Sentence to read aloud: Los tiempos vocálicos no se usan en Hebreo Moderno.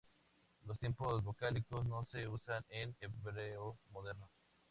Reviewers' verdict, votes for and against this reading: accepted, 2, 0